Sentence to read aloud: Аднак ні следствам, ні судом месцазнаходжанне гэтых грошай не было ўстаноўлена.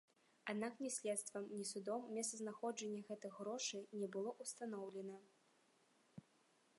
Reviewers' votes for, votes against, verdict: 2, 1, accepted